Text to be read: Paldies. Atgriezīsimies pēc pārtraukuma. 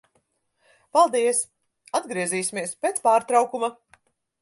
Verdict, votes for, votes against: accepted, 4, 0